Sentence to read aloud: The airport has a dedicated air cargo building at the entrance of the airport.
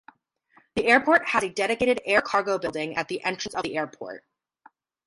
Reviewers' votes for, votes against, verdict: 2, 0, accepted